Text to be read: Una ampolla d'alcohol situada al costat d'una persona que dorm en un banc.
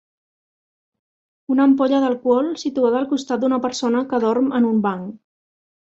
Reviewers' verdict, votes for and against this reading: accepted, 2, 0